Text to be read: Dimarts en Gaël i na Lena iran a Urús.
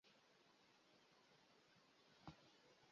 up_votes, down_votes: 0, 2